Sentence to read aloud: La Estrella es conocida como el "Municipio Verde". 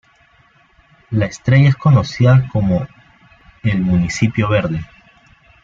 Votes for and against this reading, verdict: 1, 2, rejected